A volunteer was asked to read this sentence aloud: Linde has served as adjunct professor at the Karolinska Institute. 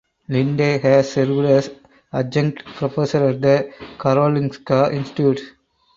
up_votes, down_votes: 0, 4